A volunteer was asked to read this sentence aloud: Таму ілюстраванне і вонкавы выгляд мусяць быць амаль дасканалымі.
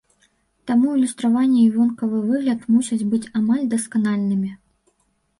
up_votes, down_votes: 2, 3